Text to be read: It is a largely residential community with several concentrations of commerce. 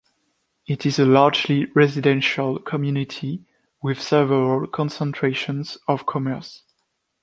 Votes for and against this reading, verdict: 2, 0, accepted